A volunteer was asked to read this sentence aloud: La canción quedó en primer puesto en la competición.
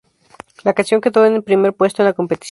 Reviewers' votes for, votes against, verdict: 0, 2, rejected